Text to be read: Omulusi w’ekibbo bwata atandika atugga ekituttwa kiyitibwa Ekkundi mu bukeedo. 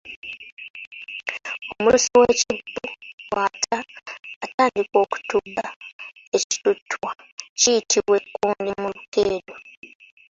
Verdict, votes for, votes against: rejected, 0, 2